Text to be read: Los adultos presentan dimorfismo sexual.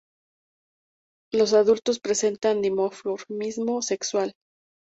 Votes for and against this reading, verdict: 0, 2, rejected